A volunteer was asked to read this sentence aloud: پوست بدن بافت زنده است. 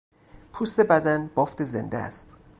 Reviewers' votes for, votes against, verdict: 0, 2, rejected